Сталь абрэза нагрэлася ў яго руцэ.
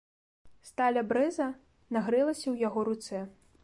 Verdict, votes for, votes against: accepted, 2, 0